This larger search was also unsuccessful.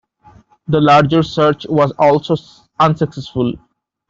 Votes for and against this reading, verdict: 1, 2, rejected